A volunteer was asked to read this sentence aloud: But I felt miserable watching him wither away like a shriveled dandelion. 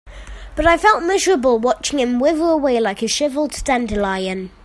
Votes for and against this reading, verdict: 2, 1, accepted